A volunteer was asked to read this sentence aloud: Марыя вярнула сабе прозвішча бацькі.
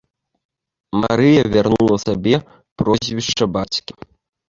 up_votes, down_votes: 3, 0